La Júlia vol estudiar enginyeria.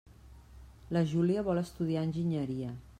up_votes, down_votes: 3, 0